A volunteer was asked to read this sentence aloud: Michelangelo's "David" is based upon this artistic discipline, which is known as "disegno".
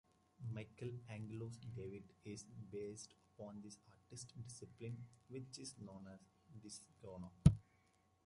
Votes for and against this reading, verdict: 0, 2, rejected